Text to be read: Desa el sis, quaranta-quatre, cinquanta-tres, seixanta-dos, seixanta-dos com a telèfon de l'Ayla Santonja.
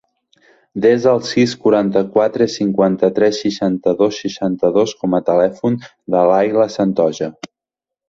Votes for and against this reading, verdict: 2, 4, rejected